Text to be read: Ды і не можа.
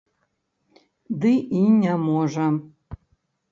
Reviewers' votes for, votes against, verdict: 1, 2, rejected